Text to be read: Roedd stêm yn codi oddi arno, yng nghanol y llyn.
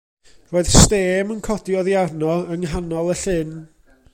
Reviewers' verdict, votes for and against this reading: accepted, 2, 0